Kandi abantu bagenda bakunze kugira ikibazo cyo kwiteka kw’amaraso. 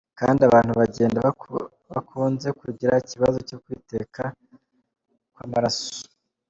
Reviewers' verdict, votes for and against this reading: rejected, 1, 3